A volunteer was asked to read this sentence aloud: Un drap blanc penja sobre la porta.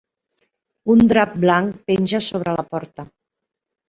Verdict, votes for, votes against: accepted, 3, 0